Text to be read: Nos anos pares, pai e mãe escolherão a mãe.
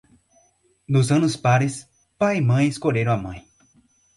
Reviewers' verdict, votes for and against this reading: rejected, 2, 2